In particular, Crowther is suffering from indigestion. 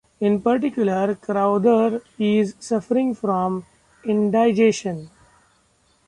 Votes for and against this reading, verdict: 2, 1, accepted